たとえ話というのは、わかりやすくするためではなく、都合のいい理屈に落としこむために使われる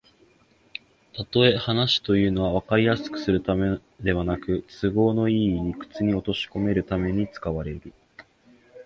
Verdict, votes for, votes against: rejected, 1, 2